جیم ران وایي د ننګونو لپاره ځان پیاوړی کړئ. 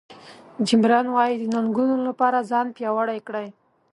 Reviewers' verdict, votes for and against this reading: accepted, 3, 0